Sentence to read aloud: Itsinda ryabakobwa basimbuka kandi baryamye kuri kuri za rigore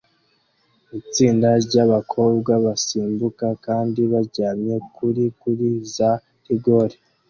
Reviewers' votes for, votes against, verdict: 2, 0, accepted